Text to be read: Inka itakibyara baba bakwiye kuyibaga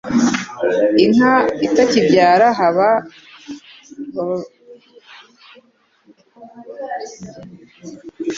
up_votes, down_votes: 1, 2